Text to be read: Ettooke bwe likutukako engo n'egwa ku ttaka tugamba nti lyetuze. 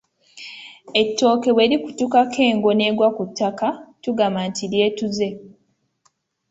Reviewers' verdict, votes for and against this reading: accepted, 2, 0